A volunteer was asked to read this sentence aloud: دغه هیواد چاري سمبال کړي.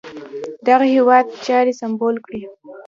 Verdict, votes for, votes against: rejected, 1, 2